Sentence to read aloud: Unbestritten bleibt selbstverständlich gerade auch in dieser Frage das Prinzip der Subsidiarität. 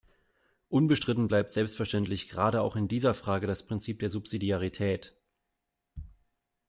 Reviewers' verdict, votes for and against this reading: accepted, 2, 0